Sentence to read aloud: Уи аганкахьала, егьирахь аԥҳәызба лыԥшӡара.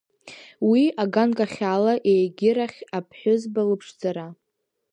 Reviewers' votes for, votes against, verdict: 2, 0, accepted